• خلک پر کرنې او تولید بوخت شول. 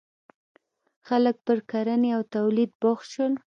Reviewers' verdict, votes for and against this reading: accepted, 2, 0